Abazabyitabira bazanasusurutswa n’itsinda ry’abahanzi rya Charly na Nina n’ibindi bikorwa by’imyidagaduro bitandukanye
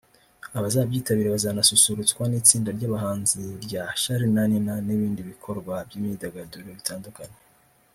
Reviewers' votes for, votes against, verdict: 2, 0, accepted